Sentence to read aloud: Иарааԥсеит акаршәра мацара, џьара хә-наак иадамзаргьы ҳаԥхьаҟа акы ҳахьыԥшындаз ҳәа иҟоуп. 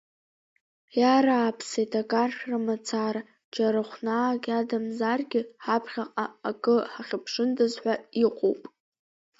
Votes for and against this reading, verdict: 2, 0, accepted